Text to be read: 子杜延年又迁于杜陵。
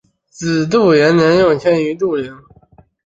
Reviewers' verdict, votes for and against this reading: rejected, 2, 3